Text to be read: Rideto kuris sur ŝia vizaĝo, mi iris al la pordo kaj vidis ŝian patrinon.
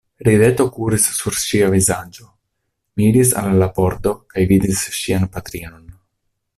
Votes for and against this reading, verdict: 0, 2, rejected